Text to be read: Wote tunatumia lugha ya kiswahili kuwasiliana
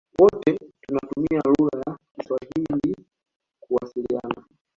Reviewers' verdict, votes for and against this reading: accepted, 2, 1